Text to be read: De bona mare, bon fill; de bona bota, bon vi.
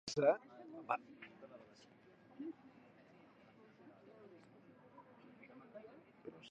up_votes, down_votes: 1, 2